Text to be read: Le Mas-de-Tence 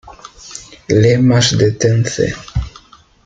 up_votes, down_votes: 1, 2